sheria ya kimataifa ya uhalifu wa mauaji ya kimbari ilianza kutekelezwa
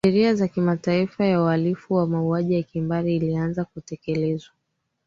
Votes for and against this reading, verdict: 2, 3, rejected